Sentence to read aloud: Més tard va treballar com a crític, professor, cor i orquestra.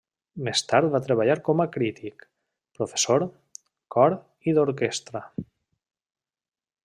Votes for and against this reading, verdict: 0, 2, rejected